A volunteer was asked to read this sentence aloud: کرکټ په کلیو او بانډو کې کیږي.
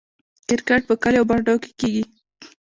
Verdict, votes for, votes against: accepted, 2, 0